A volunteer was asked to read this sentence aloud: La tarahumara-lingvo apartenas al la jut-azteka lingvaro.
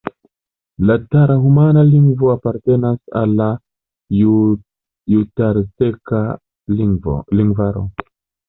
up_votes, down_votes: 1, 2